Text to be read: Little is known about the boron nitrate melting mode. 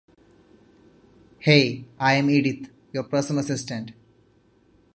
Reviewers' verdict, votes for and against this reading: rejected, 0, 2